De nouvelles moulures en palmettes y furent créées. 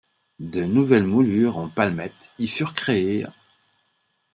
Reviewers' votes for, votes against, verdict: 2, 1, accepted